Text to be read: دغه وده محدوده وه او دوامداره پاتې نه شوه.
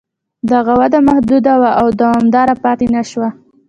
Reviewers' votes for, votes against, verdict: 2, 0, accepted